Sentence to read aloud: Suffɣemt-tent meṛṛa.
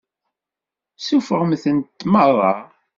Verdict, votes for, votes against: accepted, 2, 0